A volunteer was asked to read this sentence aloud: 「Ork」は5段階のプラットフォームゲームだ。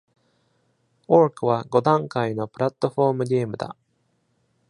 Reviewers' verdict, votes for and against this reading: rejected, 0, 2